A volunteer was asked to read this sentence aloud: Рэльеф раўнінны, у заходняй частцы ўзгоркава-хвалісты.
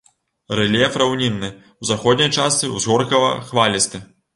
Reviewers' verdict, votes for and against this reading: accepted, 3, 0